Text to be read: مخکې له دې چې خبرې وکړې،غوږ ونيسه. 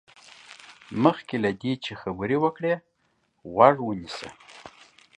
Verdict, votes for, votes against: accepted, 2, 1